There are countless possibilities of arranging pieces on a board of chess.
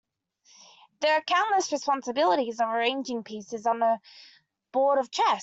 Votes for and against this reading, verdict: 0, 2, rejected